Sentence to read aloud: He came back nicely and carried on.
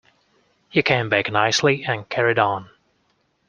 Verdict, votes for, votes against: accepted, 2, 0